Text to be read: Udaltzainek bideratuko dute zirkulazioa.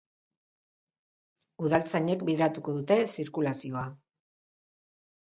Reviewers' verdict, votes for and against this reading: accepted, 3, 0